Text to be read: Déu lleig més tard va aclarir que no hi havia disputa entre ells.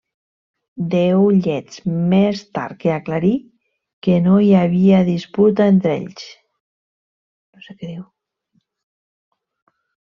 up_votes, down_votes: 1, 2